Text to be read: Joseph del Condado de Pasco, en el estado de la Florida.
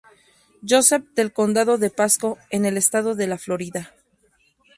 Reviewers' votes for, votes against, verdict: 0, 2, rejected